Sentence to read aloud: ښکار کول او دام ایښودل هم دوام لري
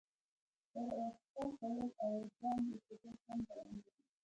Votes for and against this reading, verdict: 0, 2, rejected